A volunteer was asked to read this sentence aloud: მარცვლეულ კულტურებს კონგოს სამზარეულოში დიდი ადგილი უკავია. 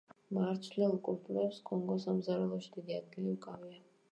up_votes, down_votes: 0, 2